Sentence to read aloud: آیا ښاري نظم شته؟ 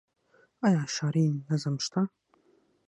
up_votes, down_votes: 3, 6